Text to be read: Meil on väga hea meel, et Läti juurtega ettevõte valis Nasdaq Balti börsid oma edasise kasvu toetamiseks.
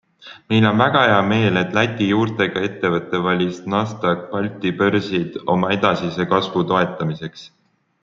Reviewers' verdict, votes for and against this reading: accepted, 3, 0